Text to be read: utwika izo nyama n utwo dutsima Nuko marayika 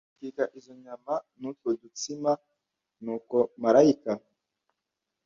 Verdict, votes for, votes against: accepted, 2, 0